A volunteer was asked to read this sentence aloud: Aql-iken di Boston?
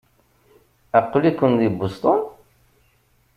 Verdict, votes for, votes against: accepted, 2, 0